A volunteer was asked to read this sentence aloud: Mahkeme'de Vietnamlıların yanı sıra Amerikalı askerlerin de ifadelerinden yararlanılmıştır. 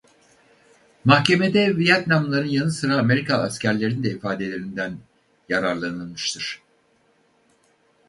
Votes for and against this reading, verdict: 0, 2, rejected